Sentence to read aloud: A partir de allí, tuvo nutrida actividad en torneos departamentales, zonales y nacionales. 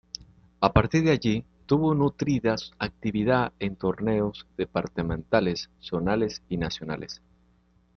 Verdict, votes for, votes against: rejected, 1, 2